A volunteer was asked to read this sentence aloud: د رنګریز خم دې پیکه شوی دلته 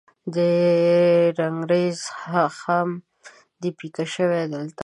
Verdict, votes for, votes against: rejected, 0, 2